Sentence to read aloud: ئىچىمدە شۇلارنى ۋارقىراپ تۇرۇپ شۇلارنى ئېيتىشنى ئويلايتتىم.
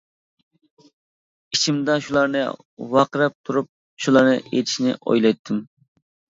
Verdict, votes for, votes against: accepted, 2, 0